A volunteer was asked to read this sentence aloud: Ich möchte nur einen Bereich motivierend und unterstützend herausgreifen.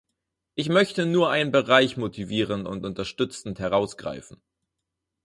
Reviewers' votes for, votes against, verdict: 0, 4, rejected